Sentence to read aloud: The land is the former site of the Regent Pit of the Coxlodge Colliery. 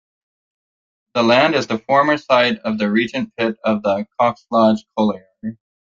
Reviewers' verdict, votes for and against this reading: accepted, 2, 1